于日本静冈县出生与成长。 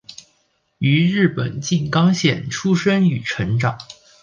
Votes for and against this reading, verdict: 2, 0, accepted